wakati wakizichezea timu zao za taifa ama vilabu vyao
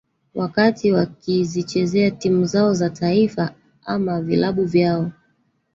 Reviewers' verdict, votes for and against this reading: rejected, 1, 2